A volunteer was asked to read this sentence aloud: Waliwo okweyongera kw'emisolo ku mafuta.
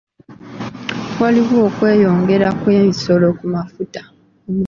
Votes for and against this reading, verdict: 1, 2, rejected